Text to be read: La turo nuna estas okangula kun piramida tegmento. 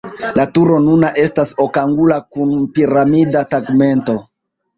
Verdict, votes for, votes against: rejected, 1, 2